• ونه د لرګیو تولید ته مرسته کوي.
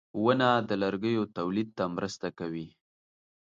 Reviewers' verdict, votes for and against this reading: accepted, 3, 0